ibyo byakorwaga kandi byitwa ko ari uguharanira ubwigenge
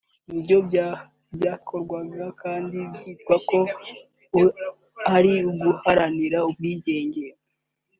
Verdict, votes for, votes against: rejected, 1, 3